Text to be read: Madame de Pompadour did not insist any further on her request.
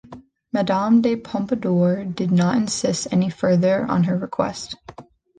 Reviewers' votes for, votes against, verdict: 1, 2, rejected